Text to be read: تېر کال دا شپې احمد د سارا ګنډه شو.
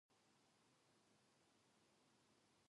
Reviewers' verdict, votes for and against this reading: rejected, 1, 2